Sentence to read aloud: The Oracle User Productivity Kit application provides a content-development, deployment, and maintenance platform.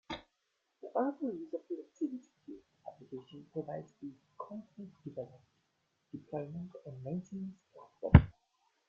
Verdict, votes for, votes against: rejected, 0, 2